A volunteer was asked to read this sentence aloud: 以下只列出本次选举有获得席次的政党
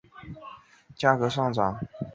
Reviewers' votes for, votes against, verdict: 1, 2, rejected